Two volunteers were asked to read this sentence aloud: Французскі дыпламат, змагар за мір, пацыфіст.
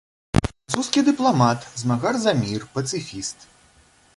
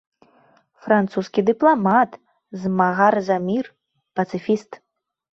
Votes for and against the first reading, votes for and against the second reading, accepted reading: 1, 2, 2, 0, second